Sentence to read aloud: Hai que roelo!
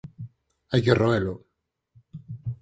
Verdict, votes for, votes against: accepted, 4, 0